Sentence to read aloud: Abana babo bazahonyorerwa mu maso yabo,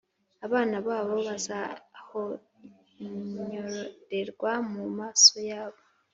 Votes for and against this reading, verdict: 3, 0, accepted